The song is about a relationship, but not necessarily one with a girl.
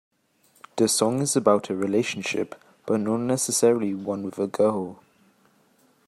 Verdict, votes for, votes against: accepted, 2, 0